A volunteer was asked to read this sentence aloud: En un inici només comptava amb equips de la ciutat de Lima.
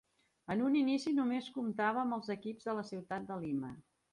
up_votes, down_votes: 1, 2